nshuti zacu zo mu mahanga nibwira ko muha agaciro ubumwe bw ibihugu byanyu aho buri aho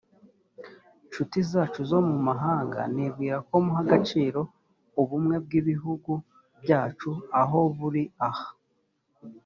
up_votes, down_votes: 0, 2